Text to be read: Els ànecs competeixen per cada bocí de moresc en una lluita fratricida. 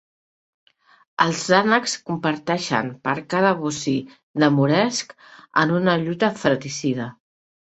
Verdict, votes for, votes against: rejected, 1, 2